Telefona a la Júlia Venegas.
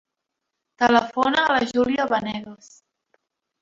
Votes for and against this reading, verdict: 0, 2, rejected